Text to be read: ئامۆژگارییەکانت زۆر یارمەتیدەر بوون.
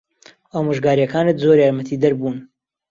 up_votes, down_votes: 2, 0